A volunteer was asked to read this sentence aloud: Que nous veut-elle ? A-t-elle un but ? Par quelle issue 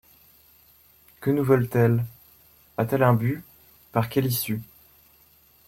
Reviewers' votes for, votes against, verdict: 0, 2, rejected